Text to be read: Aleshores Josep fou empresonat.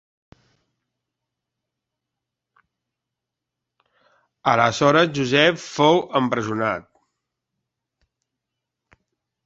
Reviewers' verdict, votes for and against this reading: accepted, 2, 1